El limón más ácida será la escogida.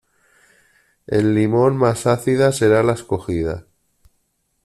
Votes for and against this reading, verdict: 2, 0, accepted